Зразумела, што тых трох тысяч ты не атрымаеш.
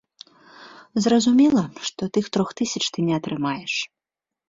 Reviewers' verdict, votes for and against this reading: accepted, 2, 0